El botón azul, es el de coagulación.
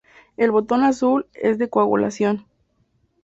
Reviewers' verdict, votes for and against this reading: rejected, 0, 2